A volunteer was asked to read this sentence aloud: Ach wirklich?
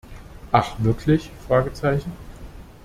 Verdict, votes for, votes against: rejected, 0, 2